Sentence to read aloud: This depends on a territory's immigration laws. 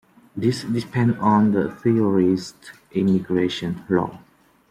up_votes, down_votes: 1, 2